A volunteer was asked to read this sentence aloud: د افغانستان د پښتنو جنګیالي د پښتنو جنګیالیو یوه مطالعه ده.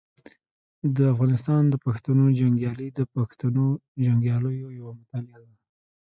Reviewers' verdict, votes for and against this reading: accepted, 2, 0